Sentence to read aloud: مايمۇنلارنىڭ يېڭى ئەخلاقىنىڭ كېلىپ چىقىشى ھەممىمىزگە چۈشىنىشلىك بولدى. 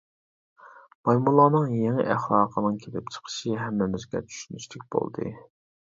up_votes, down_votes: 2, 0